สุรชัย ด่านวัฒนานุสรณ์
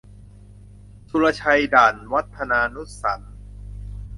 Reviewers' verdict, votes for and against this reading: rejected, 0, 2